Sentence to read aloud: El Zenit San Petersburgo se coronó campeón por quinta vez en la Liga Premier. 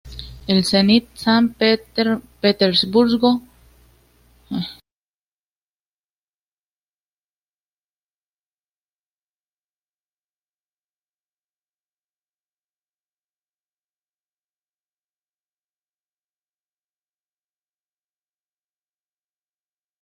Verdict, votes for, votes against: rejected, 0, 2